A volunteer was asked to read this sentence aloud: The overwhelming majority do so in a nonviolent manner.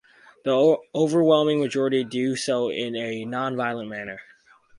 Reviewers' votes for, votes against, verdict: 0, 2, rejected